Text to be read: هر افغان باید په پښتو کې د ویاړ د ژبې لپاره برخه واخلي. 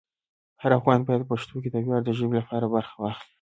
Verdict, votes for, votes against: accepted, 2, 0